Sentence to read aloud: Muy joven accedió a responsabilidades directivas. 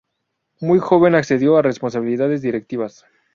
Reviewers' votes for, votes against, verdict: 2, 0, accepted